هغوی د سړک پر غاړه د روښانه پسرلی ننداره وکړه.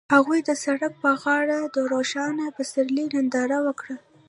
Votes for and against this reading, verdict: 1, 2, rejected